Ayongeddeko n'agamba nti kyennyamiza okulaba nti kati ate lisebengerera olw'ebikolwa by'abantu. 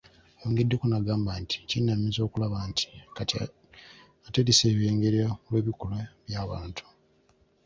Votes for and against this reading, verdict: 0, 2, rejected